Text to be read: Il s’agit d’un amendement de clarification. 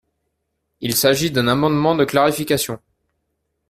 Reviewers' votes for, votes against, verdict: 2, 0, accepted